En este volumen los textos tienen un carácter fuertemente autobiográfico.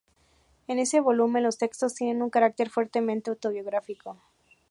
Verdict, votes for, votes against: rejected, 0, 2